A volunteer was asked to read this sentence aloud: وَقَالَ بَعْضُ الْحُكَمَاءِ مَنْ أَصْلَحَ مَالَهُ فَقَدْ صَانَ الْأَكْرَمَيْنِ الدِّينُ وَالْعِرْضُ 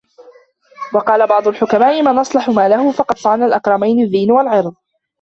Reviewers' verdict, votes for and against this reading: rejected, 0, 2